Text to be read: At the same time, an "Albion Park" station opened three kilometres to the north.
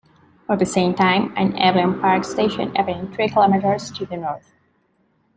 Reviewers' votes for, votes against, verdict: 2, 1, accepted